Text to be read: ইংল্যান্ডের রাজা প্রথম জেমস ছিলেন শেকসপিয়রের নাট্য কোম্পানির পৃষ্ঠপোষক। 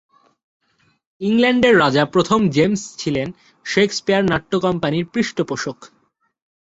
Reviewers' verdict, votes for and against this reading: rejected, 2, 3